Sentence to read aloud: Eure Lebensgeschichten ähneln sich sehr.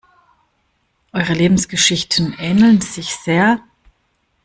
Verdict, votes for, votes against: accepted, 2, 0